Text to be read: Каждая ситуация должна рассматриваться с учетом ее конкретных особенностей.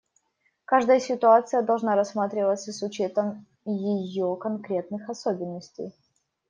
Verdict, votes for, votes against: rejected, 0, 2